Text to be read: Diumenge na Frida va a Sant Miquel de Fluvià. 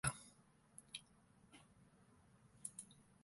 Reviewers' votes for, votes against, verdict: 1, 2, rejected